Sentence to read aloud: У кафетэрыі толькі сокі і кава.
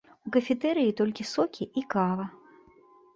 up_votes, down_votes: 2, 0